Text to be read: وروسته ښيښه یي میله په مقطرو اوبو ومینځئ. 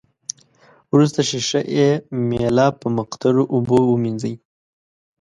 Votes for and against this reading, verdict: 3, 0, accepted